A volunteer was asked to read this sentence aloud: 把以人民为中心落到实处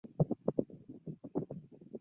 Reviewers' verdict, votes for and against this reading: rejected, 0, 2